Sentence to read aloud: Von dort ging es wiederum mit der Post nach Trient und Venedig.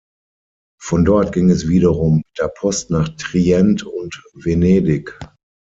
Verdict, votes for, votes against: accepted, 6, 3